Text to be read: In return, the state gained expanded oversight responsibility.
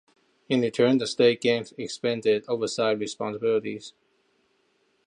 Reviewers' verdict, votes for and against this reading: rejected, 1, 2